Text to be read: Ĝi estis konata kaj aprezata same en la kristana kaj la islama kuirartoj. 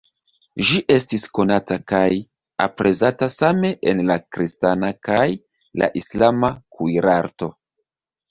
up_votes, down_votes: 0, 2